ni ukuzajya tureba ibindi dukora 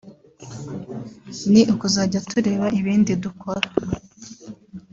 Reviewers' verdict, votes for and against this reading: rejected, 0, 2